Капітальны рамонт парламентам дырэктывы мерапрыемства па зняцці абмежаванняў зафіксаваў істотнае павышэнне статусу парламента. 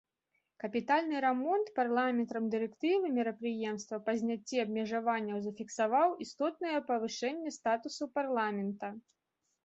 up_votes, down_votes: 0, 2